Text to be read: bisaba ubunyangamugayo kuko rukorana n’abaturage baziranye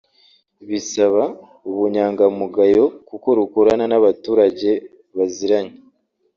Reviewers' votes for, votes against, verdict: 2, 0, accepted